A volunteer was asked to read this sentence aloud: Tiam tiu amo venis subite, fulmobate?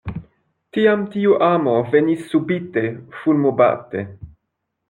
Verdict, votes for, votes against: accepted, 2, 0